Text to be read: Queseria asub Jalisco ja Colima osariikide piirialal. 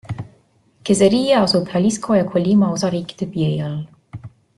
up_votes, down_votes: 2, 0